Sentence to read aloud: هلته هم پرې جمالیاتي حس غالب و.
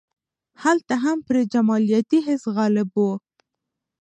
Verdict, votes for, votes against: rejected, 1, 2